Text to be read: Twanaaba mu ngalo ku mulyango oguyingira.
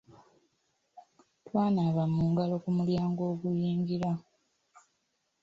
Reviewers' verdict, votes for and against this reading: rejected, 1, 2